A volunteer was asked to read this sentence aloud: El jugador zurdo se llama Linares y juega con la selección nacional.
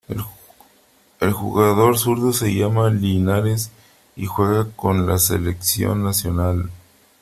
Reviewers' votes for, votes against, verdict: 3, 2, accepted